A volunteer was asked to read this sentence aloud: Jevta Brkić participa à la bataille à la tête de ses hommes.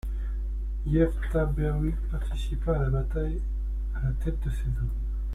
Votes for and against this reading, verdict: 1, 2, rejected